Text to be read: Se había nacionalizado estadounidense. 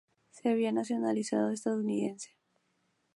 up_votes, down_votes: 2, 0